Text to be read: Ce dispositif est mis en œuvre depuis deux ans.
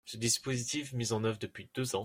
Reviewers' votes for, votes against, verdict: 0, 2, rejected